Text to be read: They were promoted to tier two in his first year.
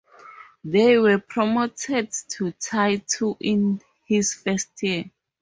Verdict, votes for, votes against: rejected, 2, 2